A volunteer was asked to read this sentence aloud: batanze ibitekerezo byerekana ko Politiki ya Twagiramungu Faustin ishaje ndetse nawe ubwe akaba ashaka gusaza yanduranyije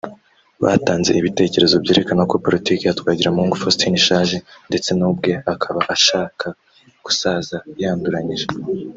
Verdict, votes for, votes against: accepted, 2, 0